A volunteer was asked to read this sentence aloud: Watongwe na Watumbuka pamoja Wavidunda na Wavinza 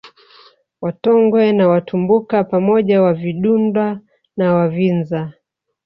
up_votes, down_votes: 2, 1